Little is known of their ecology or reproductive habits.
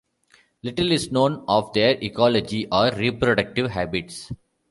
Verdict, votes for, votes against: accepted, 2, 0